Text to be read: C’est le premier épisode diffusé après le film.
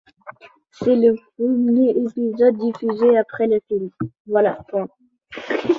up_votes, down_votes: 1, 2